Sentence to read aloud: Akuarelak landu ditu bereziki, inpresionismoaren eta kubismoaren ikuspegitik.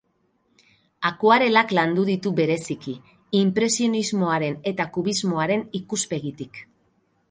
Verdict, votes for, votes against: accepted, 4, 0